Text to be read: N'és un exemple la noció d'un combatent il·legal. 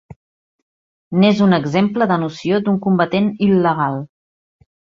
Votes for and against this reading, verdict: 2, 3, rejected